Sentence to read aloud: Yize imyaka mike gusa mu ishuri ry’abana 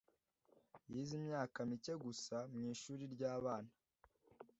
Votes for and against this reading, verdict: 2, 0, accepted